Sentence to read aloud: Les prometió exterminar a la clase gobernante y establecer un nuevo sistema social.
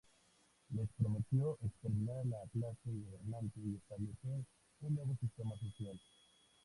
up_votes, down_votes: 0, 2